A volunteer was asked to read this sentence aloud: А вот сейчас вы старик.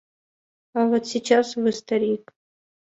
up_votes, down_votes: 2, 0